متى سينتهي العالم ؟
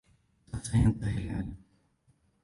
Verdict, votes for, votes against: rejected, 1, 2